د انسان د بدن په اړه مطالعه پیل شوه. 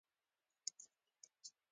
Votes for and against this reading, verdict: 2, 0, accepted